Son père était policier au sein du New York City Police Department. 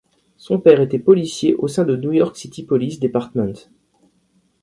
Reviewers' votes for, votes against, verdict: 0, 2, rejected